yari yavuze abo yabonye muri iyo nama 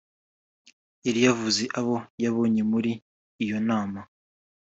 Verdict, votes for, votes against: accepted, 4, 0